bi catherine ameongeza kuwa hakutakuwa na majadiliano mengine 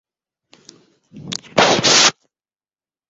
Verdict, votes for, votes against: rejected, 0, 12